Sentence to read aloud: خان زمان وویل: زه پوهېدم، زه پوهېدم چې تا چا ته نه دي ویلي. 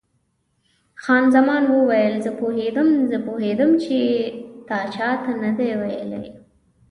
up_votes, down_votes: 2, 0